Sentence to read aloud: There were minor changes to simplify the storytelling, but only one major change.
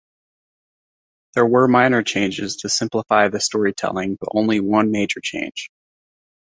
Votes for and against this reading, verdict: 2, 0, accepted